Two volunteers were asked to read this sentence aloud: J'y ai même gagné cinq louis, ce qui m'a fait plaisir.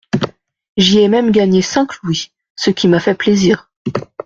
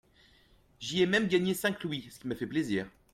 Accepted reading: first